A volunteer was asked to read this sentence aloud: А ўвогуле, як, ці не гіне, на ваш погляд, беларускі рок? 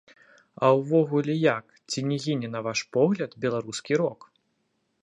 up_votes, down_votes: 2, 0